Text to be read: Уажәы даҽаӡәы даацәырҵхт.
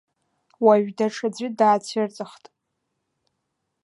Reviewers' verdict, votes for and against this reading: accepted, 2, 0